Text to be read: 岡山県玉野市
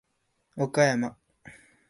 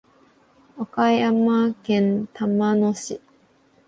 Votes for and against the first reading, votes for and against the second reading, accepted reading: 0, 2, 2, 0, second